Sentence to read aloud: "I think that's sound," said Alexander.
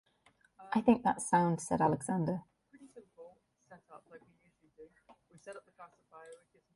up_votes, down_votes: 1, 2